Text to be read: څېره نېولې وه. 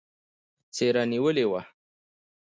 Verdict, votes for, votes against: rejected, 1, 2